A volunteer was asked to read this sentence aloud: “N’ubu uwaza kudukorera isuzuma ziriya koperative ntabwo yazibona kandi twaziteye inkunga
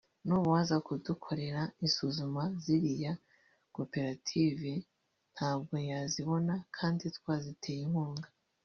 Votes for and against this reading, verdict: 1, 2, rejected